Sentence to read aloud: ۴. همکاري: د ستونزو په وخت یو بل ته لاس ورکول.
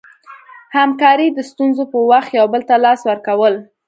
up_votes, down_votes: 0, 2